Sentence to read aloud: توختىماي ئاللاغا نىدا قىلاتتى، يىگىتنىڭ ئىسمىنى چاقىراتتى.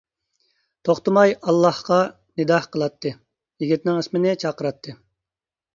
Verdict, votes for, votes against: rejected, 1, 2